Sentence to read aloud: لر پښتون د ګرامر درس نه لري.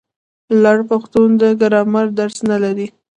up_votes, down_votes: 1, 2